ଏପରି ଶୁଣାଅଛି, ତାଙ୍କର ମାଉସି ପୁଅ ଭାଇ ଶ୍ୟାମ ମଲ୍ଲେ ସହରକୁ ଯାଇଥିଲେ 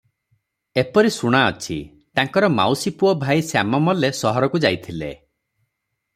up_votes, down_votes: 6, 0